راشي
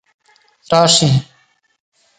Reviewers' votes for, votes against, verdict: 4, 2, accepted